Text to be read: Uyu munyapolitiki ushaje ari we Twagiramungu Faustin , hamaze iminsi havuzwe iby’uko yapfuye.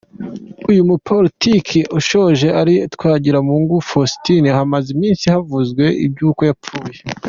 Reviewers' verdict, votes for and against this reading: accepted, 2, 1